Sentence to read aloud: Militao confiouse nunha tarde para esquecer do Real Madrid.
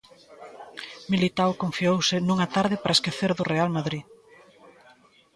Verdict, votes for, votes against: rejected, 1, 2